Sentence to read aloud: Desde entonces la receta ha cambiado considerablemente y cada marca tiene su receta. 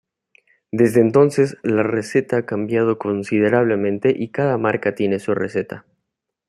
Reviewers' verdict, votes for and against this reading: accepted, 2, 0